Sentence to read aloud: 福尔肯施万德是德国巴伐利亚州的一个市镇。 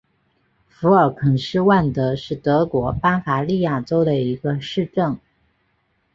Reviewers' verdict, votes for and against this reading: accepted, 3, 0